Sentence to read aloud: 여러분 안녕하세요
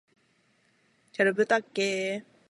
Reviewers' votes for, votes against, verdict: 0, 4, rejected